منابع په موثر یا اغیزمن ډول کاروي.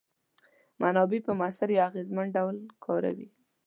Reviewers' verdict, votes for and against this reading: accepted, 2, 0